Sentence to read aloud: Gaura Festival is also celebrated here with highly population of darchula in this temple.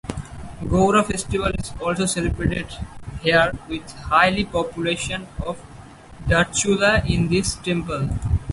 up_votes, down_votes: 2, 0